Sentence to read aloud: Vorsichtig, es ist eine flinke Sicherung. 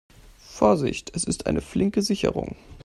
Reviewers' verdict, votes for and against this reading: rejected, 1, 2